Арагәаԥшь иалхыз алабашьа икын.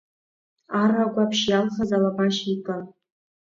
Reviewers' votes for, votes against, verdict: 1, 2, rejected